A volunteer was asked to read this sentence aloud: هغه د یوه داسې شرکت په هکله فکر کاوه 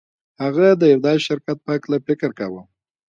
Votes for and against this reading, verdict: 2, 0, accepted